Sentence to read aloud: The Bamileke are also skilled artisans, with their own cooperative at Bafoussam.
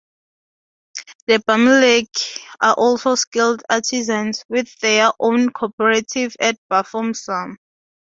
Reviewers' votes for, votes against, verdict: 0, 2, rejected